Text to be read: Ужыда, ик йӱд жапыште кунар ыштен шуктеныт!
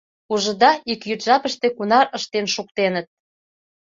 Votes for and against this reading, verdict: 2, 0, accepted